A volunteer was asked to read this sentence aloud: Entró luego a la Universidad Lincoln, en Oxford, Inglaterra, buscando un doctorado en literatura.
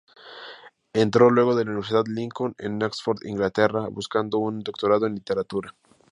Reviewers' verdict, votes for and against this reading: rejected, 0, 2